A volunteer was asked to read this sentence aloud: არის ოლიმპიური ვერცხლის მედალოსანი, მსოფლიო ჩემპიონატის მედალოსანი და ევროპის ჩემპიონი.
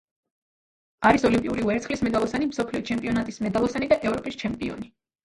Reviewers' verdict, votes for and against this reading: rejected, 1, 2